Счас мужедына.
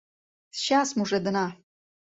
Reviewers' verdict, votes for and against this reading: accepted, 2, 0